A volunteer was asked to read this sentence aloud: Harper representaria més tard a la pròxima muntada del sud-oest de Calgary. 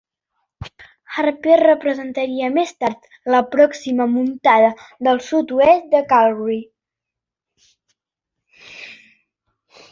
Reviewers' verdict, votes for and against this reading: rejected, 1, 2